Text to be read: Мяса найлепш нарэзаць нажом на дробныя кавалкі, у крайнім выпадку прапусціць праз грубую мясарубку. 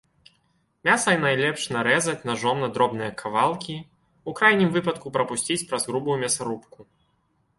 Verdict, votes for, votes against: accepted, 3, 0